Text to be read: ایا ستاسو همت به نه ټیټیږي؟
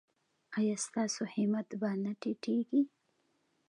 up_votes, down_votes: 2, 0